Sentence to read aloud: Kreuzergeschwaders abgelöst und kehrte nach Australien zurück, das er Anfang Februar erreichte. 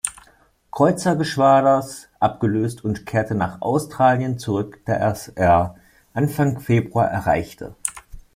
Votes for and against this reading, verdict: 0, 2, rejected